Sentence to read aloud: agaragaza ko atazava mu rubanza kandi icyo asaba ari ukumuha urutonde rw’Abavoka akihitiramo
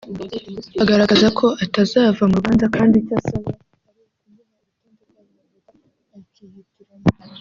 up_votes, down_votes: 1, 2